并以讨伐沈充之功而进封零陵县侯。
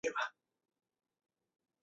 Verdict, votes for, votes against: rejected, 0, 2